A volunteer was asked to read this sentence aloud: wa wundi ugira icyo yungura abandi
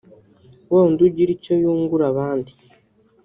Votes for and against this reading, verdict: 1, 2, rejected